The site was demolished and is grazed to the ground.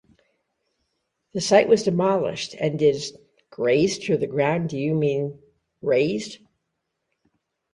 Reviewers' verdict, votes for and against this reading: rejected, 0, 2